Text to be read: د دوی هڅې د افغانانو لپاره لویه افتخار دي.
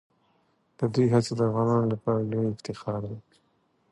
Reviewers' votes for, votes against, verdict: 2, 0, accepted